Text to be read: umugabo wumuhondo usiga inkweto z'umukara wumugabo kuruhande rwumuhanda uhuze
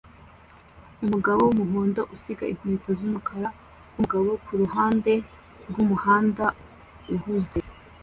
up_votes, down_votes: 2, 0